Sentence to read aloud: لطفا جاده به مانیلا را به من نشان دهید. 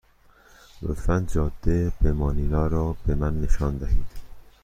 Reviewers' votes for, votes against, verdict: 2, 0, accepted